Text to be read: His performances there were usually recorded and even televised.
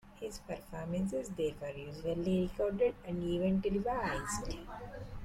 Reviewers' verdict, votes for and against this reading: rejected, 1, 2